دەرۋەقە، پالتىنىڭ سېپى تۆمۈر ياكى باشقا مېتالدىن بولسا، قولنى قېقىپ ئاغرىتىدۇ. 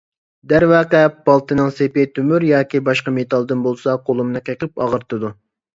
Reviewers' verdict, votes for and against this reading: rejected, 0, 2